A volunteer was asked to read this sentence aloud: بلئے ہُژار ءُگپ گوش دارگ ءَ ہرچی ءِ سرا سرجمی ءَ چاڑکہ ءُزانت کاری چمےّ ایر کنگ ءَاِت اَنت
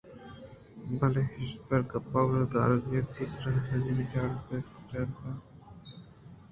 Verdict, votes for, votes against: accepted, 2, 0